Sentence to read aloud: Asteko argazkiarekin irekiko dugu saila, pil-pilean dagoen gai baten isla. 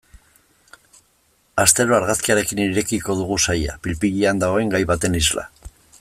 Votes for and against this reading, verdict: 1, 2, rejected